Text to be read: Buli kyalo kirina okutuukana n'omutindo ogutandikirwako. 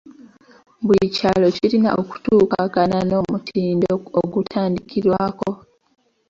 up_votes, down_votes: 1, 3